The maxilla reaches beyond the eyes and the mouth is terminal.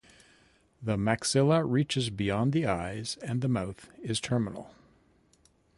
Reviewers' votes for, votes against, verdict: 0, 2, rejected